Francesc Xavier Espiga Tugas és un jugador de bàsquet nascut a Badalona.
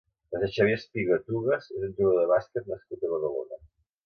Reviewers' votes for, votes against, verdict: 0, 2, rejected